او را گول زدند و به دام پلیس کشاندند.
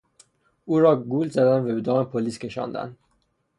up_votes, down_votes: 3, 0